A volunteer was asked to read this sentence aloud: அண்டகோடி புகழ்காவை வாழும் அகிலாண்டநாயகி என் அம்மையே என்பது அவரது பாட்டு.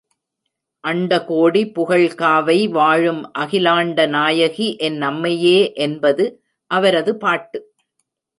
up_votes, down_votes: 2, 0